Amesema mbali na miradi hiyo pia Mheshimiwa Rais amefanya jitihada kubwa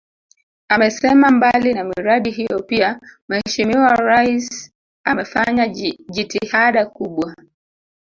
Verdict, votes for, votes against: rejected, 1, 2